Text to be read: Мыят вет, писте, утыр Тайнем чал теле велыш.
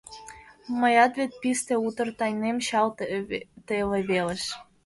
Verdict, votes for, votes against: rejected, 1, 2